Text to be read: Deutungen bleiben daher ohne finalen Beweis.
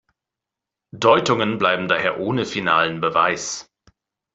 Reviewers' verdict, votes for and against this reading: accepted, 2, 0